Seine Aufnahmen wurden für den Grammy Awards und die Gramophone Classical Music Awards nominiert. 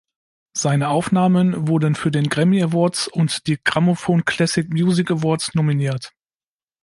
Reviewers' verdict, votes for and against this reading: rejected, 1, 2